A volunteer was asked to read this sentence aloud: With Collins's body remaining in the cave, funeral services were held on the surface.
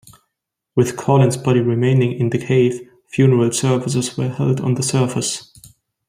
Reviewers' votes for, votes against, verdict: 0, 2, rejected